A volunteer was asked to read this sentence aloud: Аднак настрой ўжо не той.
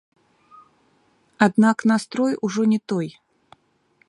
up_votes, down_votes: 0, 2